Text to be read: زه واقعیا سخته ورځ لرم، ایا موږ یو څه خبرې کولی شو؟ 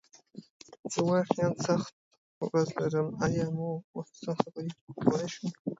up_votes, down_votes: 2, 0